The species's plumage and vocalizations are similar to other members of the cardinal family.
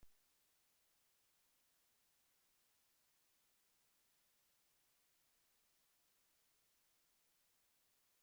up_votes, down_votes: 0, 2